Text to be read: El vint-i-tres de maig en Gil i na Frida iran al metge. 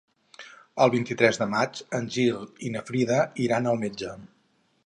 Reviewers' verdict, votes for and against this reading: accepted, 4, 0